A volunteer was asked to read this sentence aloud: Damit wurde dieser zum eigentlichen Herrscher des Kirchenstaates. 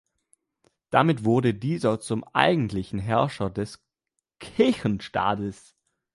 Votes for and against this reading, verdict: 2, 1, accepted